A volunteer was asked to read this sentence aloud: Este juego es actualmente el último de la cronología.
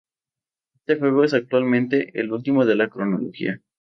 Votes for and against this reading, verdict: 2, 2, rejected